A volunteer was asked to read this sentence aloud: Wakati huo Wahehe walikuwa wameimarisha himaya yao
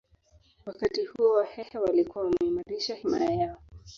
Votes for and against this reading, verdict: 1, 2, rejected